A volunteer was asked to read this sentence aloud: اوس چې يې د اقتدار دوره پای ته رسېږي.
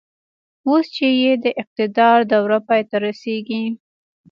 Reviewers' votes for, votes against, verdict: 2, 1, accepted